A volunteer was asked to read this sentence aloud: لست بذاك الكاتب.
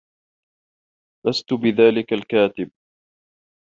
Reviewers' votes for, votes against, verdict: 2, 0, accepted